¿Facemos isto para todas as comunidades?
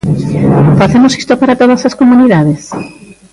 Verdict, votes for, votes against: rejected, 0, 2